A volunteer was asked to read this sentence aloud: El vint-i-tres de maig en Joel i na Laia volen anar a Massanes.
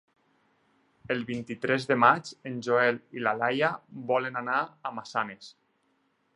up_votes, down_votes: 0, 4